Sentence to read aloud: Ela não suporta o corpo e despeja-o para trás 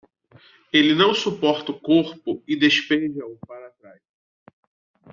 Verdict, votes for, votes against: rejected, 0, 2